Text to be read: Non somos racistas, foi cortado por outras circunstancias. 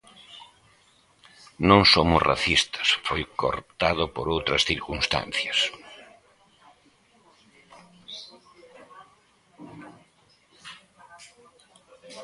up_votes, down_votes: 2, 0